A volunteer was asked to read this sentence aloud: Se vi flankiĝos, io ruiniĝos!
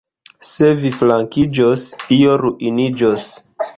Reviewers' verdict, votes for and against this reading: rejected, 1, 2